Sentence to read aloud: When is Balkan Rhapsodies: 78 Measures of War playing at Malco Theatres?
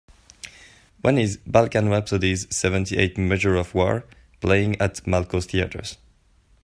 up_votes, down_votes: 0, 2